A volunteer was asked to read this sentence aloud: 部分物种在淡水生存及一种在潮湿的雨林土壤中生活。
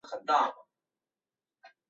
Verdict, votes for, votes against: accepted, 3, 2